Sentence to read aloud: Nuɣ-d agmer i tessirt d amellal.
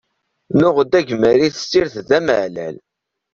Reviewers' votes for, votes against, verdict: 1, 2, rejected